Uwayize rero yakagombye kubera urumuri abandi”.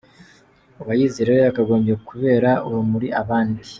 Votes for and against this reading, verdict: 2, 0, accepted